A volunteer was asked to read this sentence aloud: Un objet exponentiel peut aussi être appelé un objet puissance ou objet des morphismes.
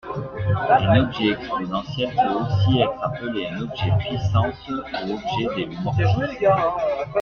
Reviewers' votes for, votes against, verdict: 1, 2, rejected